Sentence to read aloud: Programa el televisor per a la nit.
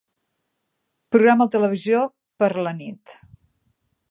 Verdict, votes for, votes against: rejected, 1, 2